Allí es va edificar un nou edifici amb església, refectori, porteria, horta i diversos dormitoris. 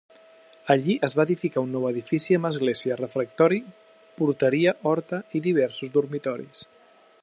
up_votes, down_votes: 2, 0